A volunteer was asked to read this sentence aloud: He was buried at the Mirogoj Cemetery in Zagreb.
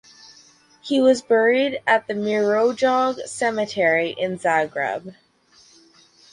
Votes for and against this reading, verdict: 4, 2, accepted